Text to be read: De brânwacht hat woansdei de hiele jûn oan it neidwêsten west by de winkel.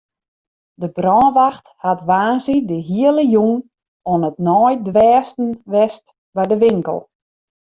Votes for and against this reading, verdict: 0, 2, rejected